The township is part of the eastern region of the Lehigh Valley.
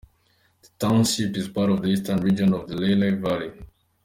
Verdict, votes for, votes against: accepted, 2, 0